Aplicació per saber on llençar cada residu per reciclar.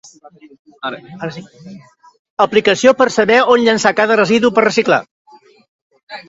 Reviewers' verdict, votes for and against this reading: rejected, 1, 2